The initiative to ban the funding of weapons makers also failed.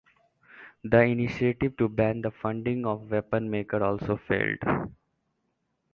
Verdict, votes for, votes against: rejected, 0, 2